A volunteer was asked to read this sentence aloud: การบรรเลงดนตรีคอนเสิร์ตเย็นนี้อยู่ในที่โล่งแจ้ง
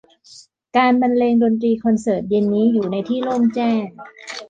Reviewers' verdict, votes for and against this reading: accepted, 2, 0